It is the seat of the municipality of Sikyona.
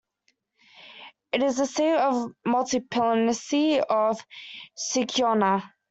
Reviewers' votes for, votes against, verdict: 0, 2, rejected